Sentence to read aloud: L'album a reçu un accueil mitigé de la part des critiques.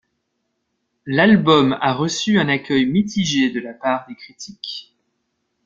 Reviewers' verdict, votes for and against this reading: accepted, 2, 0